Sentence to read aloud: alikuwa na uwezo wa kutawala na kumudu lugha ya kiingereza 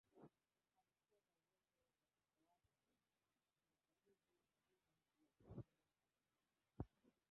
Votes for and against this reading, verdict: 1, 2, rejected